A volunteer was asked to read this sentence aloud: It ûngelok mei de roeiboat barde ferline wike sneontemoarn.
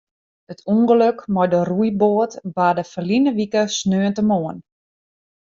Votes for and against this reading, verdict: 1, 2, rejected